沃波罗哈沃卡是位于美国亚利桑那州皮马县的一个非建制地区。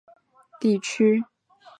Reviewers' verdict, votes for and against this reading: accepted, 3, 1